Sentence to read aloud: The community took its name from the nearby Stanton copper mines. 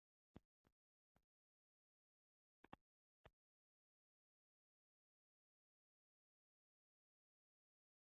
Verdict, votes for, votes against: rejected, 0, 2